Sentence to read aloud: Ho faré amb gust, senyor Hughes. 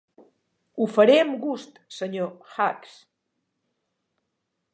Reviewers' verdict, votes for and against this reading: rejected, 1, 2